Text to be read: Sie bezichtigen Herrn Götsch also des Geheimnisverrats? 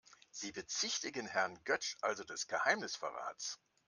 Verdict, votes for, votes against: accepted, 2, 1